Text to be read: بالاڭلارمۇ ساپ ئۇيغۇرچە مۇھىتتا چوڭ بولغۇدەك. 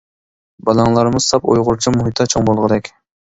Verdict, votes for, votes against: accepted, 2, 0